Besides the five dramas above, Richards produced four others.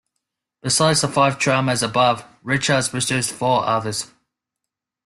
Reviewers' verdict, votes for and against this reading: accepted, 2, 1